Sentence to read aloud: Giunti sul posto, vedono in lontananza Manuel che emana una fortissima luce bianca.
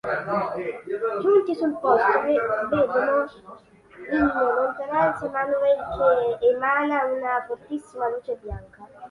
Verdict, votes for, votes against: rejected, 0, 2